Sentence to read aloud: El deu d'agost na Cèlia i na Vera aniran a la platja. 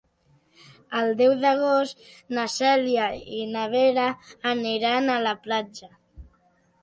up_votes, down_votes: 2, 0